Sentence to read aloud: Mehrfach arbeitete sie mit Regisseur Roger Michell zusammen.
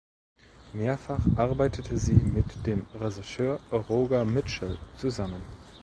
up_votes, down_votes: 1, 2